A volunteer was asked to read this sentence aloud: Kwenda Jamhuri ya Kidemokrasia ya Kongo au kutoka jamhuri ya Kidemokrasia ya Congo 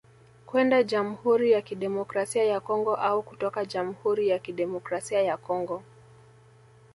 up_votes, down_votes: 2, 0